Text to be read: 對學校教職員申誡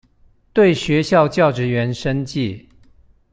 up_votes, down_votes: 2, 0